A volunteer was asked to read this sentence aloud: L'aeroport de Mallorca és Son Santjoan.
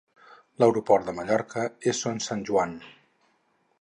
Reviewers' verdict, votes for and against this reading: accepted, 4, 0